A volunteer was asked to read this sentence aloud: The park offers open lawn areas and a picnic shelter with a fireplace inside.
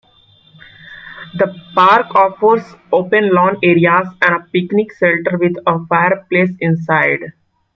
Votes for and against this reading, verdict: 1, 2, rejected